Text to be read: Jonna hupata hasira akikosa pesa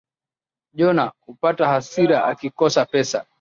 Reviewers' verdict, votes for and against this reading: accepted, 2, 0